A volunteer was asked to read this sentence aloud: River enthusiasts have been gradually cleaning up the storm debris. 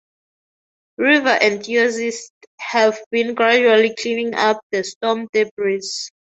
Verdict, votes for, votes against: rejected, 0, 2